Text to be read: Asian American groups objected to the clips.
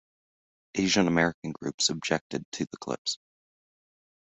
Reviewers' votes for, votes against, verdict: 2, 0, accepted